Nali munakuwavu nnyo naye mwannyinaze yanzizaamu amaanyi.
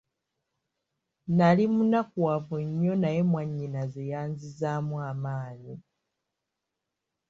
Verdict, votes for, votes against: accepted, 2, 0